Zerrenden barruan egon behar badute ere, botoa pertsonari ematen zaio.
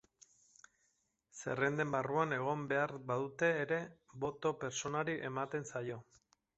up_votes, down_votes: 0, 2